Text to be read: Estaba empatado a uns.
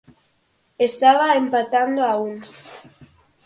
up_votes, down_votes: 0, 4